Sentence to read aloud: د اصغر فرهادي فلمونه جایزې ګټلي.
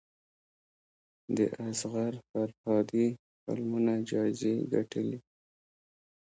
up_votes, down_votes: 1, 2